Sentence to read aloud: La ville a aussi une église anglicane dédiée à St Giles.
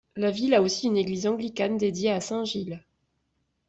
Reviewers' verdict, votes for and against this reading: accepted, 2, 0